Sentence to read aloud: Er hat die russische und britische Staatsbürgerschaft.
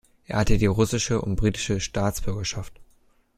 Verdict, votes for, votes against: rejected, 1, 2